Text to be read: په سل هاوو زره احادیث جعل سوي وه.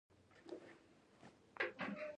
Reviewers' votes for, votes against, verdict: 1, 2, rejected